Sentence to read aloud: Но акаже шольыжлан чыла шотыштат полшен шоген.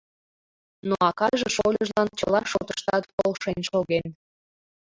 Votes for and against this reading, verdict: 2, 1, accepted